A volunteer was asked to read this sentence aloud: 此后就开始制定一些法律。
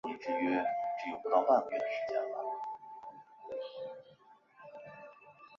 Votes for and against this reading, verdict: 1, 3, rejected